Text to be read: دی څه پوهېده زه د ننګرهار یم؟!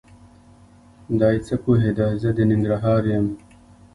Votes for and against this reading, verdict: 2, 0, accepted